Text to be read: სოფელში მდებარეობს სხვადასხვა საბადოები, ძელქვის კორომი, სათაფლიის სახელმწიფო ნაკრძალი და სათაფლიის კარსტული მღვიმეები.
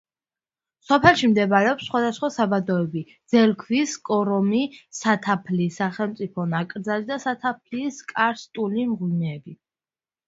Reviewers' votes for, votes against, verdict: 2, 0, accepted